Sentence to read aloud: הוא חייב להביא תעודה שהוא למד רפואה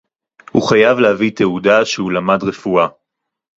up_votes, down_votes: 2, 0